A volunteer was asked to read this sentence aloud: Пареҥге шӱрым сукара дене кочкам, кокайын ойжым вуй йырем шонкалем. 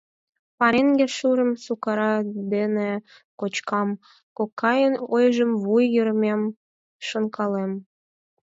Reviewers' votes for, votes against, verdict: 0, 4, rejected